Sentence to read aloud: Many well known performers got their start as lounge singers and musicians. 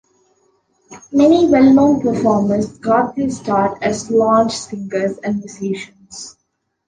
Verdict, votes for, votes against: accepted, 2, 0